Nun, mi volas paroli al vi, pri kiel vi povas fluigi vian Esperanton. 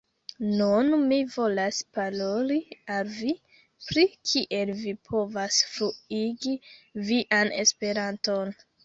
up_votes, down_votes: 2, 0